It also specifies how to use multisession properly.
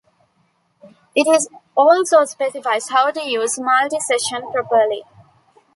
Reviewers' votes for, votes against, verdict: 0, 2, rejected